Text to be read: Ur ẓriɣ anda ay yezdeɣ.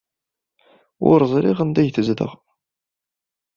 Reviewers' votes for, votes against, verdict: 1, 2, rejected